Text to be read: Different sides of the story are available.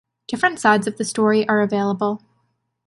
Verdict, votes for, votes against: accepted, 2, 0